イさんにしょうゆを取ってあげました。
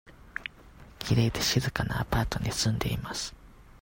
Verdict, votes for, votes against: rejected, 0, 2